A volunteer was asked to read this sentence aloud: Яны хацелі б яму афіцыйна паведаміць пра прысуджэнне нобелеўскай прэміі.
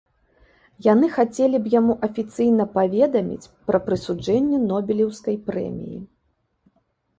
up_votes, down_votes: 2, 0